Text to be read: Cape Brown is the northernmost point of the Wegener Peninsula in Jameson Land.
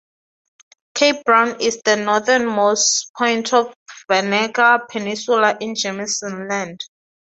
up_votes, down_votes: 0, 2